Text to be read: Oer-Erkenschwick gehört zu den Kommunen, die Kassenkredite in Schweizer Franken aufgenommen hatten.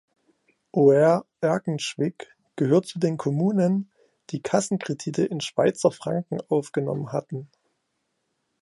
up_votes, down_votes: 2, 0